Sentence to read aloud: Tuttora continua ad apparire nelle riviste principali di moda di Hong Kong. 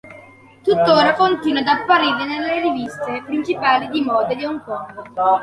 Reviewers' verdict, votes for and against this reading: accepted, 2, 1